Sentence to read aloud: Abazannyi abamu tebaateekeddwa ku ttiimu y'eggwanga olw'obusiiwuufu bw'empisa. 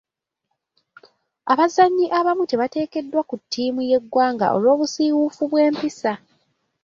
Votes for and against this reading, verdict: 1, 2, rejected